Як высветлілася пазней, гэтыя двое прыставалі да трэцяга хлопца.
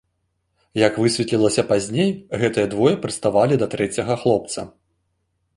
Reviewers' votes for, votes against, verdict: 2, 0, accepted